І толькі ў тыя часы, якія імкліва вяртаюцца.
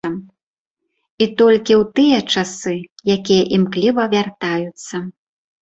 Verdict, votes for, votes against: rejected, 0, 2